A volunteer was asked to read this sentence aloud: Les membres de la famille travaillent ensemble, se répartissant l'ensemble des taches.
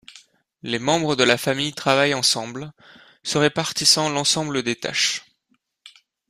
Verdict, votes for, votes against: accepted, 2, 0